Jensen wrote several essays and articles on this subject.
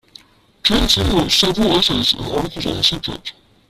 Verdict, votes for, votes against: rejected, 1, 2